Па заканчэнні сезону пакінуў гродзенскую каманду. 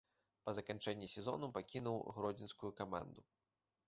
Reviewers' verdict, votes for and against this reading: accepted, 2, 0